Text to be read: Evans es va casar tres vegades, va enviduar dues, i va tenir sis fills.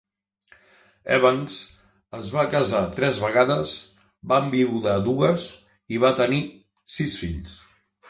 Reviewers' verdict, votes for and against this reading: rejected, 0, 2